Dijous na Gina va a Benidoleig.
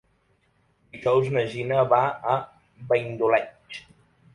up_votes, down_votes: 1, 4